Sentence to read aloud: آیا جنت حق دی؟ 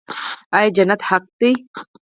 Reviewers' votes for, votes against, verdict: 4, 2, accepted